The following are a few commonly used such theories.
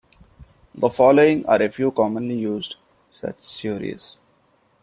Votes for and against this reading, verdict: 2, 1, accepted